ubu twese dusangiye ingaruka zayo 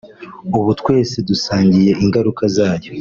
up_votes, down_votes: 2, 0